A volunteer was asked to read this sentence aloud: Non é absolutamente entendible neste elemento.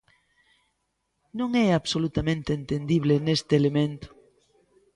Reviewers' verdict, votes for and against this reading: accepted, 2, 0